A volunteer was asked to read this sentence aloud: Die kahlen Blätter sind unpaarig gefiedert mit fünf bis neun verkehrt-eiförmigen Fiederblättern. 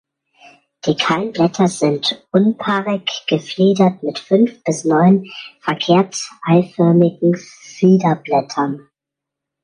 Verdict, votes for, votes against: accepted, 2, 1